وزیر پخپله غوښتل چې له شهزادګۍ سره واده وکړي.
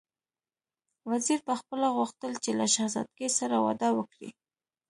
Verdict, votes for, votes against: accepted, 2, 0